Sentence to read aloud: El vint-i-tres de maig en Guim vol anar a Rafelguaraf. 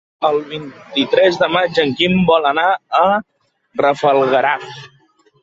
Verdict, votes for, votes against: rejected, 0, 2